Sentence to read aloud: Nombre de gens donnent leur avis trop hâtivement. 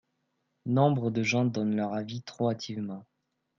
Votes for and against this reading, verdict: 2, 0, accepted